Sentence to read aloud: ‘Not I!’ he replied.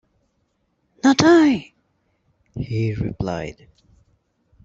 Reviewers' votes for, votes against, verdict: 2, 0, accepted